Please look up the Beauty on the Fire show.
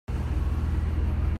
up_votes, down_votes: 0, 2